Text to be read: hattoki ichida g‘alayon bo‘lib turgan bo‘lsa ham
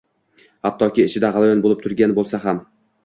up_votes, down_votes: 2, 1